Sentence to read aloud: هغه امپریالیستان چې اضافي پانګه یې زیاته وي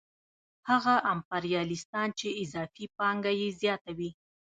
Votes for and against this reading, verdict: 0, 2, rejected